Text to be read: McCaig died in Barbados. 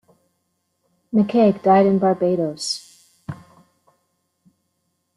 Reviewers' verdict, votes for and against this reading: accepted, 2, 0